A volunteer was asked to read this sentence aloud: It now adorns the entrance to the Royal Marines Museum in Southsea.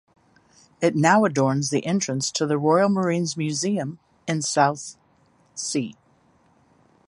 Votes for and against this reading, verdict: 1, 2, rejected